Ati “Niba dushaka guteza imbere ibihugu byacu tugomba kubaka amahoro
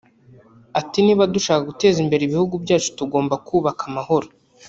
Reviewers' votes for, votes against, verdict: 1, 2, rejected